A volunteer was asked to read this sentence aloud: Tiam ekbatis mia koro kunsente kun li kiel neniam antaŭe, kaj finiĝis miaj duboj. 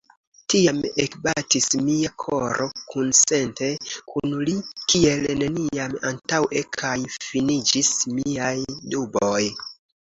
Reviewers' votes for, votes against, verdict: 2, 0, accepted